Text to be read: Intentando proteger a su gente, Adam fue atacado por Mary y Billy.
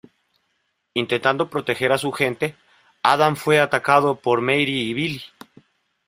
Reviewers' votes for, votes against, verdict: 1, 2, rejected